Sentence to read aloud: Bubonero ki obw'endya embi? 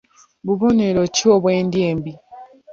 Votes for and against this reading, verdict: 3, 0, accepted